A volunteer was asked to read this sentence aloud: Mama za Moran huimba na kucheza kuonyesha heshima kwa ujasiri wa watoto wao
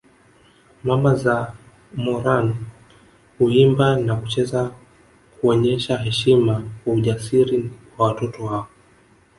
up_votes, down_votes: 1, 2